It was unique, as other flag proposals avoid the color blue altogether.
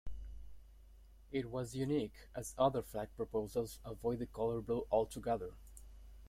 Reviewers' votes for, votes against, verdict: 2, 0, accepted